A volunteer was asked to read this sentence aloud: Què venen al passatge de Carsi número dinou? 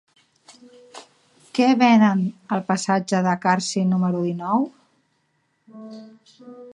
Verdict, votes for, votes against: accepted, 2, 0